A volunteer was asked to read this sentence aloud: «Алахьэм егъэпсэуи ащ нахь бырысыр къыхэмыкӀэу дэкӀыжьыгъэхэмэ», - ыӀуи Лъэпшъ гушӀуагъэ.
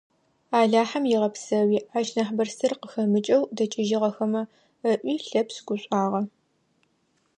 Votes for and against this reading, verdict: 2, 0, accepted